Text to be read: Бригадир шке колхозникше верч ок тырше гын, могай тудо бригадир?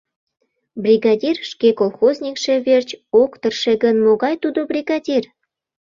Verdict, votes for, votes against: accepted, 2, 0